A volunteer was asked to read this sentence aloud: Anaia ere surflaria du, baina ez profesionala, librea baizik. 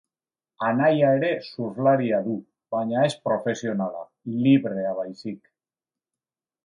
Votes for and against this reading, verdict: 2, 0, accepted